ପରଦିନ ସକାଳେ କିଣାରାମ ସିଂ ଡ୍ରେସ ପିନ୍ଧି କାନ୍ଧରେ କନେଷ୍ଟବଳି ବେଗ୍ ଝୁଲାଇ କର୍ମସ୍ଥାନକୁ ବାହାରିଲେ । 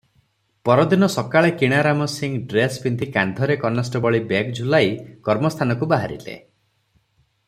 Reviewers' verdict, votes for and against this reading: accepted, 3, 0